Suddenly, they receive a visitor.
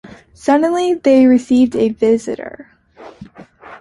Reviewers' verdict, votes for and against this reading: accepted, 2, 0